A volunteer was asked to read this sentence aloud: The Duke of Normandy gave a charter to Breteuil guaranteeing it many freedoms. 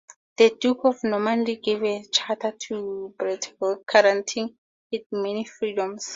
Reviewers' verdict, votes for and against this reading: accepted, 2, 0